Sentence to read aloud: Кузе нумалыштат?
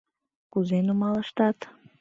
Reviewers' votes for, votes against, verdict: 2, 0, accepted